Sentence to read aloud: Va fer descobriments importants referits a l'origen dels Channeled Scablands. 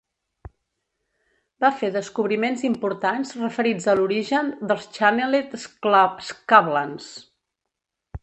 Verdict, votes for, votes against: rejected, 0, 2